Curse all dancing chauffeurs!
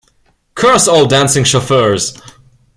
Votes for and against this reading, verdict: 2, 0, accepted